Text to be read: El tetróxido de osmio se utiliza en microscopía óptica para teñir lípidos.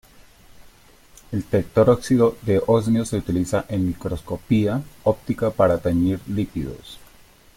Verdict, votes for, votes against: accepted, 2, 1